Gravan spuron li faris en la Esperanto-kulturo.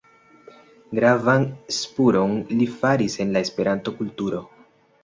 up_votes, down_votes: 2, 1